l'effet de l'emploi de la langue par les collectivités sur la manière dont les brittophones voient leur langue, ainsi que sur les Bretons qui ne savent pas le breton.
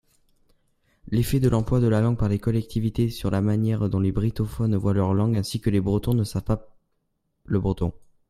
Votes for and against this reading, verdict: 1, 2, rejected